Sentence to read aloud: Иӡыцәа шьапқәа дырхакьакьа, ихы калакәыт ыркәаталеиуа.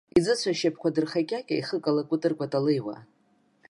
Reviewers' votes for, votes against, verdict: 1, 2, rejected